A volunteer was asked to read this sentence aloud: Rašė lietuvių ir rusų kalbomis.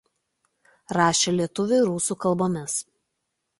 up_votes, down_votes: 2, 0